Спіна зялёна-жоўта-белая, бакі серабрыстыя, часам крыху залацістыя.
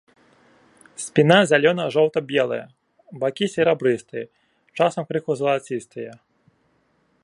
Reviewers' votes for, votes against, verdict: 1, 2, rejected